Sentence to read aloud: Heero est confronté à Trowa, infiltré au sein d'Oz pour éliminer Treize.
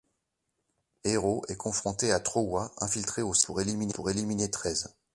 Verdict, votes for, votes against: rejected, 1, 2